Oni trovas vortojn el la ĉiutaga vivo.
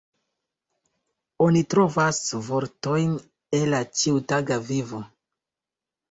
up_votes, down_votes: 2, 0